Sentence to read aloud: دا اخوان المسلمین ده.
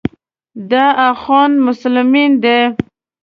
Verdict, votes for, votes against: rejected, 0, 2